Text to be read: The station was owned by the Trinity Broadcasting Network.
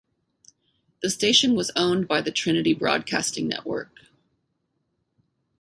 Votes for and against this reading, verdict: 2, 2, rejected